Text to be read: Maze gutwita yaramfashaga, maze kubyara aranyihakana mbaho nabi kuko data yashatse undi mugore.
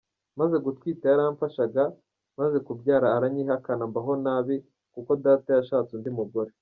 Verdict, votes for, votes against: rejected, 1, 2